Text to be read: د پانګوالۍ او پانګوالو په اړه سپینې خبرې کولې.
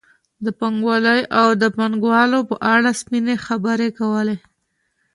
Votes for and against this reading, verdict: 3, 0, accepted